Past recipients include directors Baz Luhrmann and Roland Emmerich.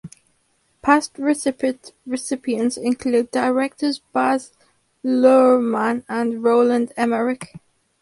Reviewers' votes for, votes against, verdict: 0, 4, rejected